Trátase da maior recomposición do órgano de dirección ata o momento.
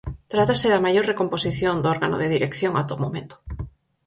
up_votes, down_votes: 4, 0